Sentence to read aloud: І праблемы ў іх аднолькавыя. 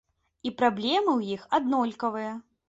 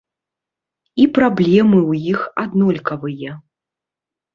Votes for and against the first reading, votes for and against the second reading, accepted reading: 2, 0, 1, 2, first